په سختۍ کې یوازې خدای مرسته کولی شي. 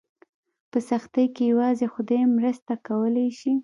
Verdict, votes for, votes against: accepted, 2, 0